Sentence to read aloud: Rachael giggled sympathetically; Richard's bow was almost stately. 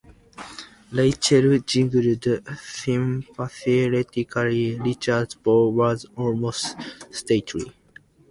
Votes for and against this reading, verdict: 0, 2, rejected